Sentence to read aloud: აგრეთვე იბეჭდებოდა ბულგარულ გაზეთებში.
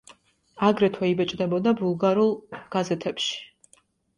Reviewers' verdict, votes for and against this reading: accepted, 2, 0